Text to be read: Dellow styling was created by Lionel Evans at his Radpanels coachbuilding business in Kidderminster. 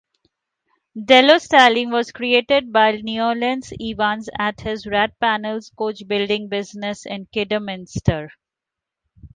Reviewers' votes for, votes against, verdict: 3, 1, accepted